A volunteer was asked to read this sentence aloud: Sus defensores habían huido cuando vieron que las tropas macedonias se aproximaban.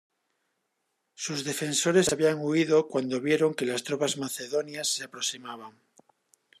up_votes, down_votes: 2, 0